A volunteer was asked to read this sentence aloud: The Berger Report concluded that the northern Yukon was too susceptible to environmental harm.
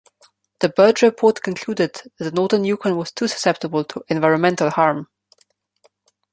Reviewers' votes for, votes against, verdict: 2, 1, accepted